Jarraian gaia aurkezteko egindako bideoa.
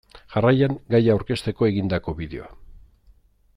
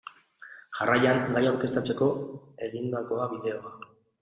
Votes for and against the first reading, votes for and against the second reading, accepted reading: 2, 0, 0, 2, first